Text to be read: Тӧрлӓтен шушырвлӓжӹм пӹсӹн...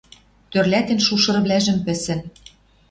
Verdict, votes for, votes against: accepted, 2, 0